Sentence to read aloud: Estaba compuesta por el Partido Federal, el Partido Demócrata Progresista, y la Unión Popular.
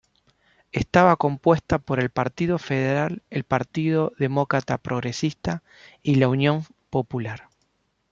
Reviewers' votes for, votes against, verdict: 1, 2, rejected